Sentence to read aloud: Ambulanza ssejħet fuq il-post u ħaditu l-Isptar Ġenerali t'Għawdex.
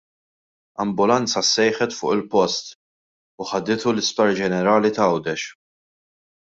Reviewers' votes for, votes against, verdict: 2, 0, accepted